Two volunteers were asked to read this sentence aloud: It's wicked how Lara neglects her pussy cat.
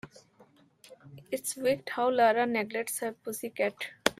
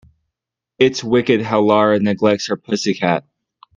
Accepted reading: second